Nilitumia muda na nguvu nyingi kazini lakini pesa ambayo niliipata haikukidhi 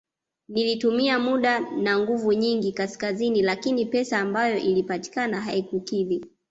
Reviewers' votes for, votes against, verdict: 0, 2, rejected